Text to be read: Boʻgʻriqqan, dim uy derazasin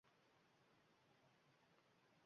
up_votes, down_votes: 0, 2